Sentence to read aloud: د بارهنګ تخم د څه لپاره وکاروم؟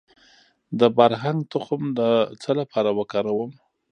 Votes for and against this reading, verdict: 2, 0, accepted